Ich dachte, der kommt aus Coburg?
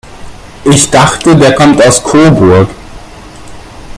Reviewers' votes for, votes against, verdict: 1, 2, rejected